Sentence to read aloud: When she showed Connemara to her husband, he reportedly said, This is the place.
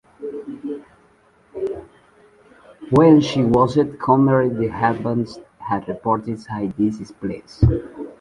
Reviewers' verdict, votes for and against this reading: rejected, 0, 2